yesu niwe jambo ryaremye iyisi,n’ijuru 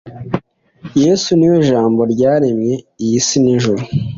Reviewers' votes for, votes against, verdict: 2, 0, accepted